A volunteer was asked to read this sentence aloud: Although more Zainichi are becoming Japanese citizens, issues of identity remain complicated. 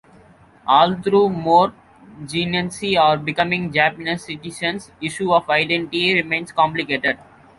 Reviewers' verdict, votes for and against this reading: accepted, 2, 0